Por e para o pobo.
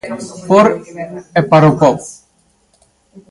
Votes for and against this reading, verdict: 2, 1, accepted